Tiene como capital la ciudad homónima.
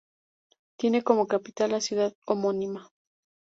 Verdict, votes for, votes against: accepted, 4, 0